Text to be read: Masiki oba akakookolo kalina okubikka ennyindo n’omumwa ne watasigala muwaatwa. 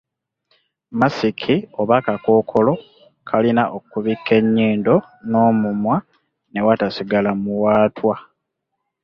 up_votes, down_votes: 2, 0